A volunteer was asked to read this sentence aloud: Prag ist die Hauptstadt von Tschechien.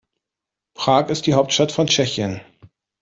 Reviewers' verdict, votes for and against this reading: accepted, 2, 0